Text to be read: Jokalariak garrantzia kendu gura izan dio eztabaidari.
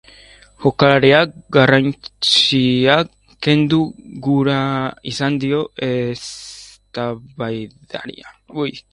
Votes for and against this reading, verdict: 0, 2, rejected